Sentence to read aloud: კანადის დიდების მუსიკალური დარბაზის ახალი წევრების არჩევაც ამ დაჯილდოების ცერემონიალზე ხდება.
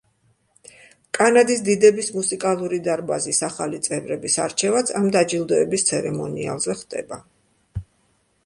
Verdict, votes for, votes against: accepted, 2, 0